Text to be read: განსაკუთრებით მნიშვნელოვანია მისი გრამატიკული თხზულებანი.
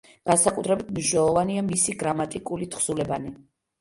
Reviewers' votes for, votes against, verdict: 2, 0, accepted